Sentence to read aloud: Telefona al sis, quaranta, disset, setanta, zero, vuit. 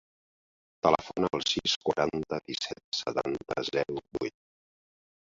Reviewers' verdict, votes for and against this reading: rejected, 1, 2